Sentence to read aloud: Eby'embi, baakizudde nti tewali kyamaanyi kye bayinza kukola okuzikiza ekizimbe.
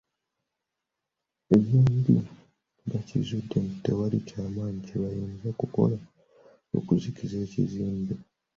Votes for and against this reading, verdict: 1, 2, rejected